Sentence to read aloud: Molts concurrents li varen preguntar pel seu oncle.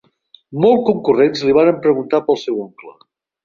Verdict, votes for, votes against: rejected, 1, 2